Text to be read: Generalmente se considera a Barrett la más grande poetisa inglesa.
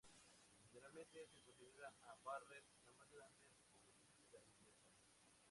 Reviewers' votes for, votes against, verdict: 0, 4, rejected